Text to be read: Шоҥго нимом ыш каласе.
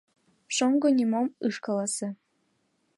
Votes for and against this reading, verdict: 2, 0, accepted